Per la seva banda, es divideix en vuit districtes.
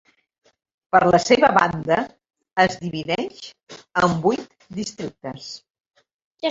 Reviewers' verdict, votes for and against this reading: accepted, 4, 0